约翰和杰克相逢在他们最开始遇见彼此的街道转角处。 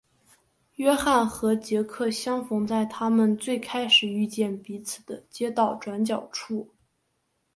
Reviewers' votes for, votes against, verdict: 3, 0, accepted